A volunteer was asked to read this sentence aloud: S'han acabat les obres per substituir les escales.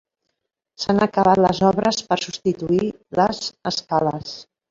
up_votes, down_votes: 1, 2